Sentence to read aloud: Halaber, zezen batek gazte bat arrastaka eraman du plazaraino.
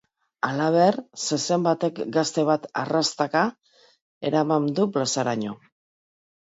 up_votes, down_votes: 0, 2